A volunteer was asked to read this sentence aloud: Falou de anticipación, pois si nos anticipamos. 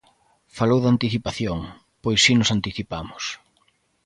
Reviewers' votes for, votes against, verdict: 2, 0, accepted